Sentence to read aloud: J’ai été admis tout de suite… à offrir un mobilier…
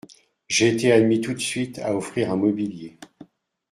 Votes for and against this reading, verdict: 2, 0, accepted